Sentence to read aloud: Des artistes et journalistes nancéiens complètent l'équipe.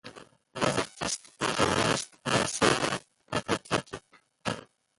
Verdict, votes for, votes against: rejected, 0, 2